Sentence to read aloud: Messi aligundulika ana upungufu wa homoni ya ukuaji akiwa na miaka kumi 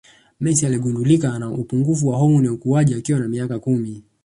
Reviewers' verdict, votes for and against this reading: accepted, 2, 0